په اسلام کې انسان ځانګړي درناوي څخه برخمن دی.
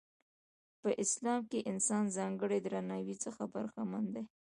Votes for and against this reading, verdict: 2, 0, accepted